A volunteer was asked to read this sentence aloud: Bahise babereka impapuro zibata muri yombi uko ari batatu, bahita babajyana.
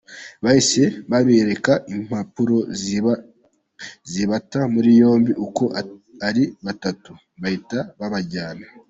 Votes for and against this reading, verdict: 0, 2, rejected